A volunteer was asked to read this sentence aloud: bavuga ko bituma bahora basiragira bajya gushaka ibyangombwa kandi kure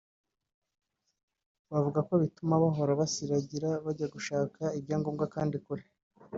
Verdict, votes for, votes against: accepted, 2, 1